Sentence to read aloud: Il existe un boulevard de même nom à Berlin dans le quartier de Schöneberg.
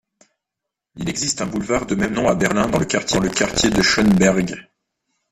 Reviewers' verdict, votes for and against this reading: rejected, 0, 2